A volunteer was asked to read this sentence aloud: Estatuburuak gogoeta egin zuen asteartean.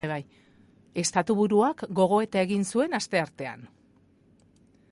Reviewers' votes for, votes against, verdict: 1, 2, rejected